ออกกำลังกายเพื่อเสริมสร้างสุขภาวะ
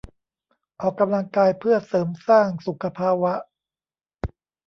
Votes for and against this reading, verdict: 1, 2, rejected